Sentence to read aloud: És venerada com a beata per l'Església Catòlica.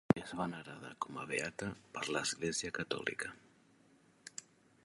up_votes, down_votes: 0, 2